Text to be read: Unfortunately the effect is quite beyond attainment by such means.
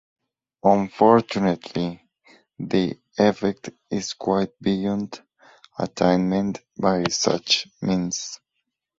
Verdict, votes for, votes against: accepted, 6, 0